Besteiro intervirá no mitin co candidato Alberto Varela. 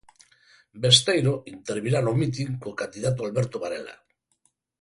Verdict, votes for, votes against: accepted, 4, 0